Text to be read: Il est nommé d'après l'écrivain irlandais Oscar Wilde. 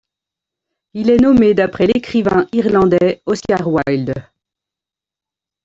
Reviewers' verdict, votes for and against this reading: rejected, 1, 2